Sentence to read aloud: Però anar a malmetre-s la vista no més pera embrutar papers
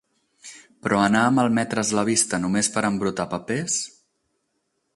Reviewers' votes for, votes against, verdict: 4, 0, accepted